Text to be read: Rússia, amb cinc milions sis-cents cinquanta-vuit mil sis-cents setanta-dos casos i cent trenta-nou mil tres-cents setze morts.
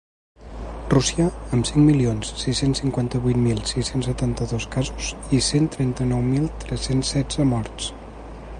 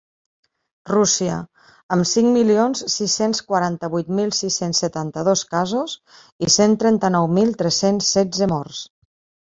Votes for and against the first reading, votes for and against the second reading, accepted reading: 2, 0, 0, 2, first